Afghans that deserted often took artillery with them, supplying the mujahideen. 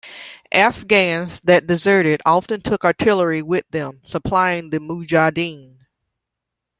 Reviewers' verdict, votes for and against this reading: accepted, 2, 0